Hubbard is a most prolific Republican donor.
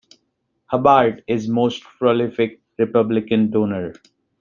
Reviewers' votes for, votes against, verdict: 2, 0, accepted